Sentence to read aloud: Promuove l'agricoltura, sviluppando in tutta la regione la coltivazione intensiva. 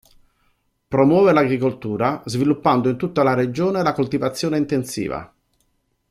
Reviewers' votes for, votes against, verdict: 2, 0, accepted